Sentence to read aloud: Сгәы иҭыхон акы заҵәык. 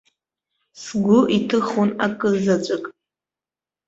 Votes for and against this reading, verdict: 2, 0, accepted